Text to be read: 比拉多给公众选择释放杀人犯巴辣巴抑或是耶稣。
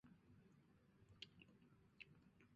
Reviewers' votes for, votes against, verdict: 0, 3, rejected